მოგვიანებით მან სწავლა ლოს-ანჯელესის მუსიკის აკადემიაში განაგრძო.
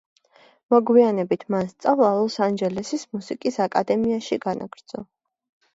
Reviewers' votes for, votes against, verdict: 1, 2, rejected